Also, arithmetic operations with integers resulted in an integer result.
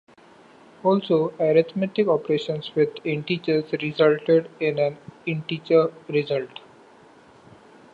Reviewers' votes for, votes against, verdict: 2, 0, accepted